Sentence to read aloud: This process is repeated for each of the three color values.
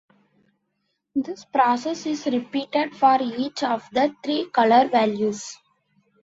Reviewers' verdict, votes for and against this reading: accepted, 2, 0